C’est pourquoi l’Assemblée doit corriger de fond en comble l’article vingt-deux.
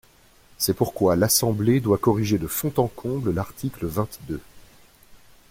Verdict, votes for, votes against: accepted, 2, 0